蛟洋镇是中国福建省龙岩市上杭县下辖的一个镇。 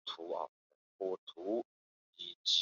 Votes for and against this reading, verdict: 0, 2, rejected